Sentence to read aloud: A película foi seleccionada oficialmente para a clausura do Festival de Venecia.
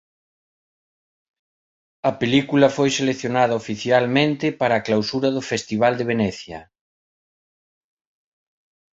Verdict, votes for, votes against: accepted, 2, 0